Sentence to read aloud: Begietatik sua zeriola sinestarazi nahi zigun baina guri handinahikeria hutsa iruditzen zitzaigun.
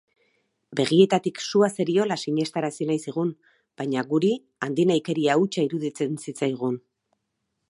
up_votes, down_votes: 8, 0